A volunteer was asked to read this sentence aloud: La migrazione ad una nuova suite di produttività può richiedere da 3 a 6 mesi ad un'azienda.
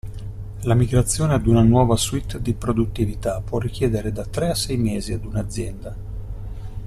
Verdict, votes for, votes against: rejected, 0, 2